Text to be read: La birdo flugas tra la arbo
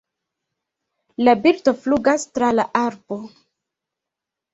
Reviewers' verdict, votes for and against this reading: rejected, 1, 2